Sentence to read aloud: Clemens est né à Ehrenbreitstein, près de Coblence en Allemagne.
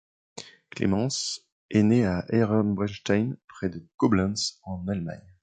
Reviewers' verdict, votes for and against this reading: accepted, 2, 1